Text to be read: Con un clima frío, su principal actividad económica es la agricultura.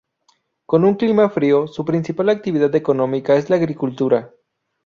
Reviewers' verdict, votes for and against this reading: rejected, 0, 2